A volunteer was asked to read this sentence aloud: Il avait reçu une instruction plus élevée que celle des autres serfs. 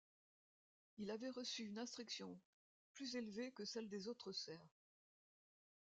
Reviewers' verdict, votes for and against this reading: accepted, 2, 0